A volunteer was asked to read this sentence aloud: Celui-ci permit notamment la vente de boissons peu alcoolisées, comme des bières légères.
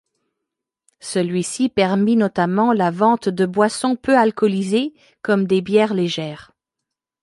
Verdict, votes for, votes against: accepted, 2, 0